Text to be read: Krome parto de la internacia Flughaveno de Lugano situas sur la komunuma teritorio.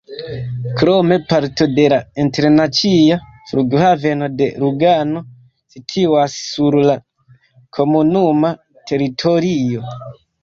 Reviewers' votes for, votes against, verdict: 0, 2, rejected